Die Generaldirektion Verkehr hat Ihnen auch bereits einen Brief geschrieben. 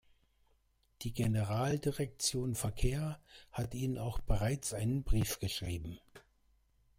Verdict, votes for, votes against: accepted, 2, 0